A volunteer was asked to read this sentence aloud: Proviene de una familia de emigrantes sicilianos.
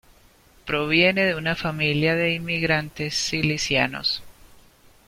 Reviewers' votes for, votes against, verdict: 1, 2, rejected